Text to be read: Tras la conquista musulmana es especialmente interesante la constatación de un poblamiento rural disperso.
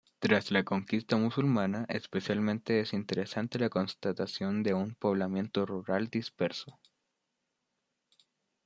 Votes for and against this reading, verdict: 0, 2, rejected